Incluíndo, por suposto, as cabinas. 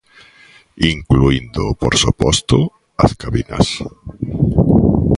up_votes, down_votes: 2, 0